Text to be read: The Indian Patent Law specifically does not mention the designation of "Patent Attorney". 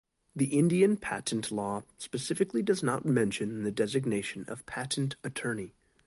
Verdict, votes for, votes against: accepted, 2, 0